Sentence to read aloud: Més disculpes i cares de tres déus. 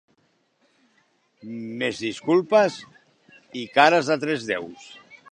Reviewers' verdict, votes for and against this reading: accepted, 2, 0